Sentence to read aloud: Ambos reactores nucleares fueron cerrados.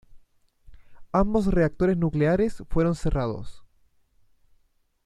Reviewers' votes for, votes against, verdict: 2, 0, accepted